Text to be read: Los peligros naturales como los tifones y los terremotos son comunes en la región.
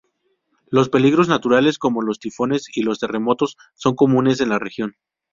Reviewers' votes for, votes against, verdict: 2, 0, accepted